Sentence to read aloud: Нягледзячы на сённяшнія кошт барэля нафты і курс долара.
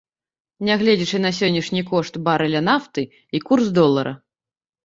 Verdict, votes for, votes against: rejected, 1, 2